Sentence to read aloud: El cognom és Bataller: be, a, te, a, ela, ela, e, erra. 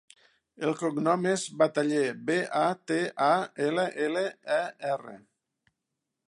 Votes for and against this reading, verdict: 1, 2, rejected